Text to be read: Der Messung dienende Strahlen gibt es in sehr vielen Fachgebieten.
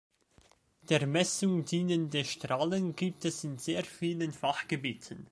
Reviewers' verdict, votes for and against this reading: accepted, 3, 0